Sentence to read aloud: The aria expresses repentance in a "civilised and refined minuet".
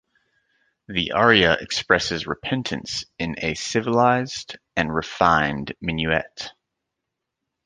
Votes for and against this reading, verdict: 2, 0, accepted